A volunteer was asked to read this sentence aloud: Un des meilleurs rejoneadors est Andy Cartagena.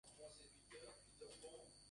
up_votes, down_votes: 0, 2